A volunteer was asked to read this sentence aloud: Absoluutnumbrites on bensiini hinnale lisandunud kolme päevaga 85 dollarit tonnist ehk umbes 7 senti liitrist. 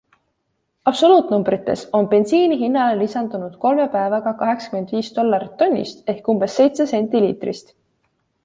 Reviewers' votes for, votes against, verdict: 0, 2, rejected